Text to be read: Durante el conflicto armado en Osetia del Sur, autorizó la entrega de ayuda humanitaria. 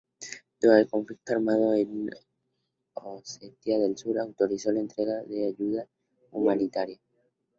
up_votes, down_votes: 2, 0